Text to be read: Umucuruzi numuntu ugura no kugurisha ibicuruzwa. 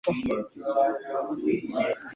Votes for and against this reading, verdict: 0, 2, rejected